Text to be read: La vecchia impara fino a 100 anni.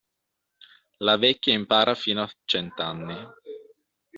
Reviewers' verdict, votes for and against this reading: rejected, 0, 2